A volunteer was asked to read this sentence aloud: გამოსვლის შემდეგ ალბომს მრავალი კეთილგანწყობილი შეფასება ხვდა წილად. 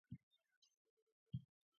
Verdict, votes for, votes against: rejected, 0, 2